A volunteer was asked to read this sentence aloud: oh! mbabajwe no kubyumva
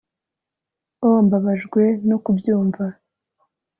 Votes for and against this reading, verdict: 3, 0, accepted